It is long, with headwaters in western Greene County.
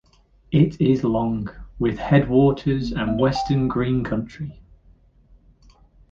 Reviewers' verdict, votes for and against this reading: rejected, 0, 2